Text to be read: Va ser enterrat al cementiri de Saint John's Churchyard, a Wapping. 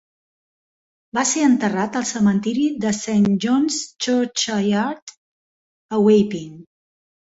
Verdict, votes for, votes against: accepted, 3, 2